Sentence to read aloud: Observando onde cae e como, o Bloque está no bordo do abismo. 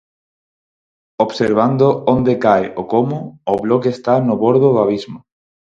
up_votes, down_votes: 0, 4